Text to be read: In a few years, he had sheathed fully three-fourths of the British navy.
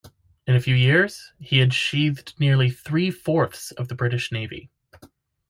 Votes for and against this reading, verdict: 1, 2, rejected